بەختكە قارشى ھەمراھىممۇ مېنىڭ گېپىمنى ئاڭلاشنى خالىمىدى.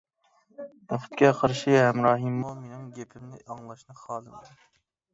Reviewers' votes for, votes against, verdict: 1, 2, rejected